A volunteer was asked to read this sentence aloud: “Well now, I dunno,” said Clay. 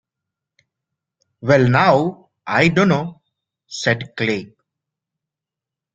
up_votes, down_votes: 2, 0